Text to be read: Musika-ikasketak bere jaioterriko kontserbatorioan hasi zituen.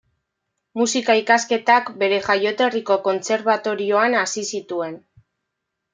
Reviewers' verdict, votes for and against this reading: accepted, 2, 0